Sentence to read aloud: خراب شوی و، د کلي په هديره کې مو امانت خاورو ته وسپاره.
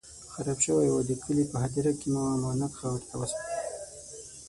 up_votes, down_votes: 3, 6